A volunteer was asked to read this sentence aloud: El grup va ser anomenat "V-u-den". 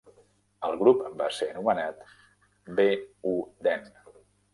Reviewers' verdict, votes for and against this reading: rejected, 1, 2